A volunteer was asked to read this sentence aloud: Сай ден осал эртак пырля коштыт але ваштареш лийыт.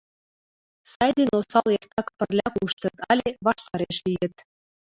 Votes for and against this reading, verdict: 2, 0, accepted